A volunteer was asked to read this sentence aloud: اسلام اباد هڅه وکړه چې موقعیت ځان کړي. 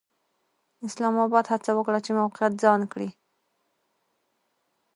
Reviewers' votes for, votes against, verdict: 2, 0, accepted